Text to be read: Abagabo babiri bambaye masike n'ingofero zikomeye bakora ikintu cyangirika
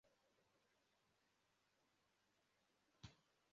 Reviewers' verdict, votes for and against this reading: rejected, 0, 2